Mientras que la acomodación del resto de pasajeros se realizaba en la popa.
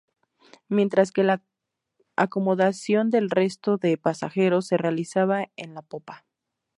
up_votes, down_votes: 2, 0